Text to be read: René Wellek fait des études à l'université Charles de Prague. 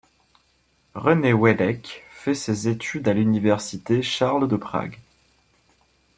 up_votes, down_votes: 0, 2